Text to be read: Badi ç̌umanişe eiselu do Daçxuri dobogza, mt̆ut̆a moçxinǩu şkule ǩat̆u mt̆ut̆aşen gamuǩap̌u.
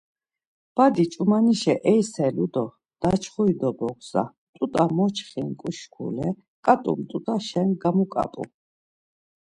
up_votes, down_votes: 2, 0